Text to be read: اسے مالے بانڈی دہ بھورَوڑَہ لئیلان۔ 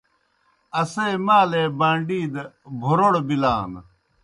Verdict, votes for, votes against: rejected, 0, 2